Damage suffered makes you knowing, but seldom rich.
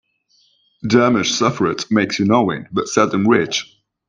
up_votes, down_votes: 0, 3